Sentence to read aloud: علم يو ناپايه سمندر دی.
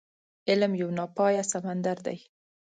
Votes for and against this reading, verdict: 2, 0, accepted